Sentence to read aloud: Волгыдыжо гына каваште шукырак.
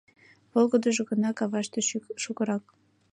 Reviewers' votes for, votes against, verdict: 0, 2, rejected